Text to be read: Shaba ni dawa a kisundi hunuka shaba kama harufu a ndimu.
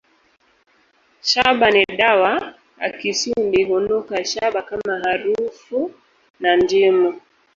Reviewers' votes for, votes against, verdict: 1, 2, rejected